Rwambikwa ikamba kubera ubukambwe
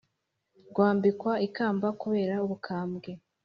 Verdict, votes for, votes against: accepted, 2, 0